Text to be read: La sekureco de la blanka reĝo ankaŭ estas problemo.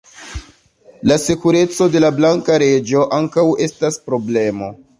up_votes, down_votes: 0, 2